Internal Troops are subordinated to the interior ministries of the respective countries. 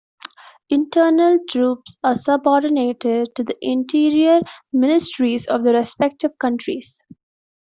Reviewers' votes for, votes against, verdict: 2, 1, accepted